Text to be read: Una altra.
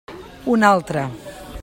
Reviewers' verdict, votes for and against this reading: accepted, 2, 0